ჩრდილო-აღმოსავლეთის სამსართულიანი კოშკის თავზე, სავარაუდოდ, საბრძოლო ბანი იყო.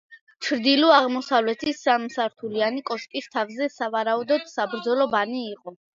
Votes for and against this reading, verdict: 2, 0, accepted